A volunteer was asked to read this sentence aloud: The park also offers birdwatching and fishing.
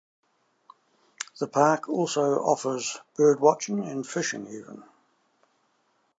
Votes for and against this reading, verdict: 2, 0, accepted